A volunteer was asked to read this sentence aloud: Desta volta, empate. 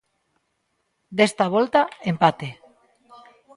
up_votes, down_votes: 2, 0